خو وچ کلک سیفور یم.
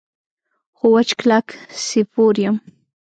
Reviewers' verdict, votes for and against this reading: rejected, 1, 2